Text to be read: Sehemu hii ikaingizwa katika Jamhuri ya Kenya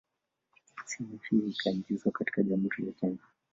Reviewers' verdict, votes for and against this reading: rejected, 1, 2